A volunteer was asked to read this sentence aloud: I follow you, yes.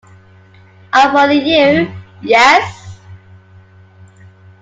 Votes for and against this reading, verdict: 2, 0, accepted